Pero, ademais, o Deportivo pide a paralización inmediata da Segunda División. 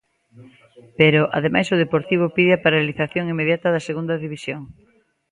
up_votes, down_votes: 2, 0